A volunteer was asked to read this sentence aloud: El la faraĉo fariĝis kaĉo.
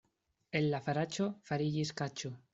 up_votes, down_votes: 2, 0